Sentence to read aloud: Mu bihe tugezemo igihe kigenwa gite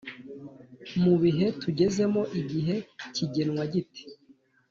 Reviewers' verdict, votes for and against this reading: accepted, 2, 0